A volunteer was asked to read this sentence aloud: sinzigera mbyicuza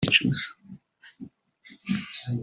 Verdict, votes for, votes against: rejected, 1, 2